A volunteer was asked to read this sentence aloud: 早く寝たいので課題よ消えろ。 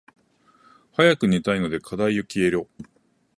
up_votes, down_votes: 2, 0